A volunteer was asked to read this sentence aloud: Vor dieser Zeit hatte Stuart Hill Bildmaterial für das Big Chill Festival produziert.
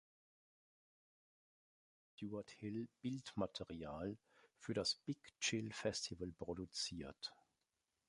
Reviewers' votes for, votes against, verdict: 0, 2, rejected